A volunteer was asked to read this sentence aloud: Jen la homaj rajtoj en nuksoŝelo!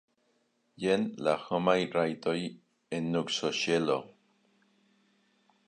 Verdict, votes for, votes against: rejected, 0, 2